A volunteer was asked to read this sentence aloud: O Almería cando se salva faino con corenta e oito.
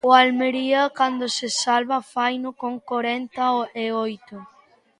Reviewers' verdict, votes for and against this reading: rejected, 0, 2